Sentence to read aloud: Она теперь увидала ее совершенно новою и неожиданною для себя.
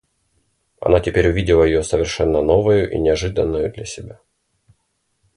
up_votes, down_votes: 0, 2